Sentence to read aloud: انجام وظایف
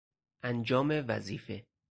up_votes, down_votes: 2, 4